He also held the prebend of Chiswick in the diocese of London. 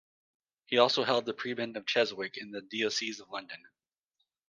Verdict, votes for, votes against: rejected, 1, 2